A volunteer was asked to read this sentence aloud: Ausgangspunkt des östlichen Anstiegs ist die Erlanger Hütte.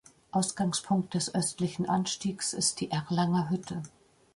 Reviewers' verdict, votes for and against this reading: accepted, 2, 0